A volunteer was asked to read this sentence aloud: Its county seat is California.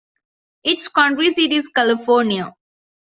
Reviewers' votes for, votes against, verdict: 0, 2, rejected